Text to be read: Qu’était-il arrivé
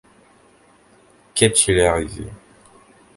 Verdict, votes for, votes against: rejected, 0, 2